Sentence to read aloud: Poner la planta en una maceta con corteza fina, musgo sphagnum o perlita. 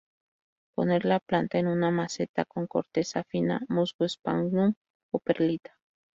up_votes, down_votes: 2, 2